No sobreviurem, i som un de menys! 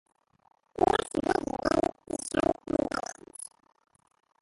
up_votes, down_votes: 0, 2